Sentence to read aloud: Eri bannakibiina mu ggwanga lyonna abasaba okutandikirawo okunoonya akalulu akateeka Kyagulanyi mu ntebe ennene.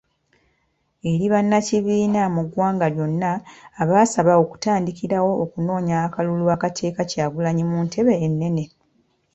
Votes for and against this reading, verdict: 2, 0, accepted